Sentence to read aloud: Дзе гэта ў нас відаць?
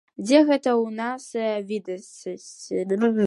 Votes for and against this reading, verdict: 0, 2, rejected